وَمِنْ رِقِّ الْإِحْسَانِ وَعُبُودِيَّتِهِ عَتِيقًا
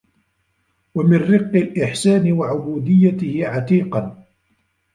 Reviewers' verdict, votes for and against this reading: rejected, 1, 2